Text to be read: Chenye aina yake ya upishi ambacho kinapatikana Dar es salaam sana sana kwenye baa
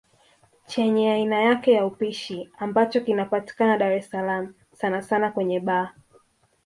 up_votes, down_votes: 2, 0